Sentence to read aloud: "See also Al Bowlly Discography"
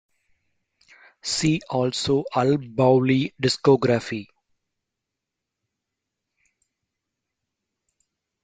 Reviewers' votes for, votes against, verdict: 0, 2, rejected